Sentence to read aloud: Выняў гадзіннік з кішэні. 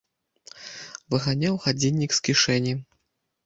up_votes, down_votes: 1, 2